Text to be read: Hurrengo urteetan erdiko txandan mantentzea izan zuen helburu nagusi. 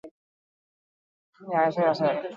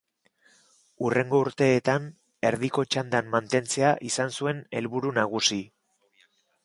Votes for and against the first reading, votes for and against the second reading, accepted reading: 0, 4, 2, 0, second